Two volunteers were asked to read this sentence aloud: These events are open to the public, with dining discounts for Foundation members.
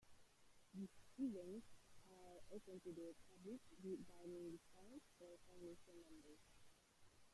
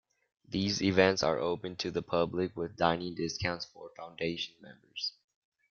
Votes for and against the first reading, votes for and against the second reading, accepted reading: 0, 2, 2, 0, second